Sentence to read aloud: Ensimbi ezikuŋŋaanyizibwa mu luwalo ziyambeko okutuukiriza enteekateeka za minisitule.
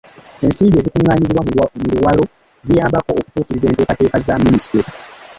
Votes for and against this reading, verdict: 1, 2, rejected